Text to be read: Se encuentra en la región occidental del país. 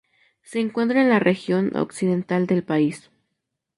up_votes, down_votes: 4, 0